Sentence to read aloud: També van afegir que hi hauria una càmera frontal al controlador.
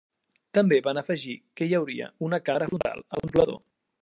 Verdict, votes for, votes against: rejected, 1, 2